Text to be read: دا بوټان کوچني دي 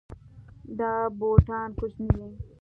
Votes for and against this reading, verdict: 2, 0, accepted